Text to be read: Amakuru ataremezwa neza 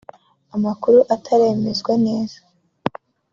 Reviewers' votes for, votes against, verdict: 2, 1, accepted